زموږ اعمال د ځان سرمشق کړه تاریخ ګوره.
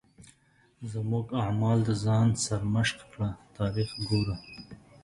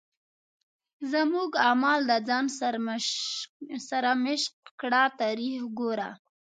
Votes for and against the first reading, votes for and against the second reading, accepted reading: 2, 0, 0, 2, first